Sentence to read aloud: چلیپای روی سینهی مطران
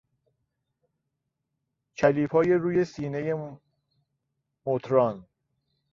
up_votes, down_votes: 1, 2